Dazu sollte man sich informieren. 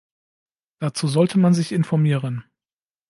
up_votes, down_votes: 2, 0